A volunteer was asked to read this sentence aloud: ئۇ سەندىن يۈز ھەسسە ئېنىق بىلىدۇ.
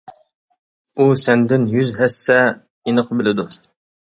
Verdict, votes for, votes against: accepted, 2, 0